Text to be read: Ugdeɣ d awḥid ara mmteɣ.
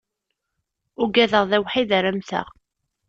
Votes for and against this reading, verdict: 1, 2, rejected